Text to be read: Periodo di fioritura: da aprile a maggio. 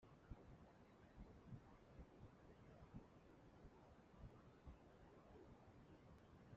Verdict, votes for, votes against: rejected, 0, 2